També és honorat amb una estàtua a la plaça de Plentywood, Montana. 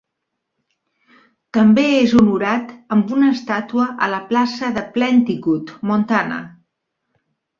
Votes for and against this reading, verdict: 1, 2, rejected